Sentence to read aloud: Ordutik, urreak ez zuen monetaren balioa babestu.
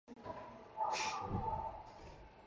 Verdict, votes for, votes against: rejected, 0, 2